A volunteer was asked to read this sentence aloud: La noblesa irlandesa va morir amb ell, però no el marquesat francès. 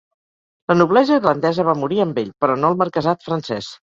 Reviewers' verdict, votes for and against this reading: accepted, 4, 0